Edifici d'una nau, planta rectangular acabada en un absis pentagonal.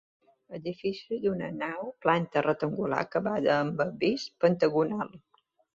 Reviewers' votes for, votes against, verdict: 0, 2, rejected